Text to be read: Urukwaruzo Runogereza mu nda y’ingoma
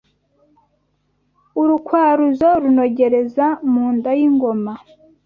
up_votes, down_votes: 2, 0